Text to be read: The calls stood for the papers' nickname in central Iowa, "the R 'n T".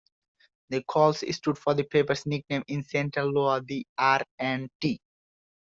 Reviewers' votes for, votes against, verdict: 0, 2, rejected